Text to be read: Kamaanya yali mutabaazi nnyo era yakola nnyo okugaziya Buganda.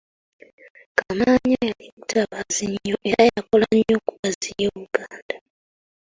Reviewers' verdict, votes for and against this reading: accepted, 2, 1